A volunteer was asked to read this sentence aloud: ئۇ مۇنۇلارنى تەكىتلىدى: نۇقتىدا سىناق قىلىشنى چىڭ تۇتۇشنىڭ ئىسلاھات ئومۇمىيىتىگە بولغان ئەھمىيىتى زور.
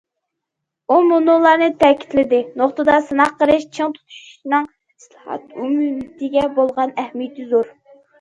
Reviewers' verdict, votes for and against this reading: rejected, 0, 2